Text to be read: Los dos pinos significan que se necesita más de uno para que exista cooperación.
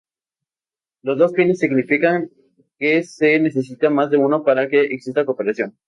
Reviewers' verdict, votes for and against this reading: accepted, 2, 0